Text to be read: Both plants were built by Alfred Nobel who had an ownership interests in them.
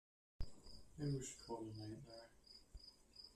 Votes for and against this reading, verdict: 0, 2, rejected